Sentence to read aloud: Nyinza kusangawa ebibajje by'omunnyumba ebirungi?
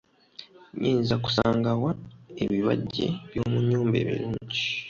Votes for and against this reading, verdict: 1, 2, rejected